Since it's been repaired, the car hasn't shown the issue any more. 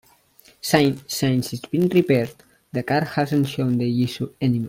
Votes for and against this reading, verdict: 1, 2, rejected